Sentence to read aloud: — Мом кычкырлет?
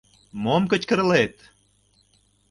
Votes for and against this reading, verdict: 2, 0, accepted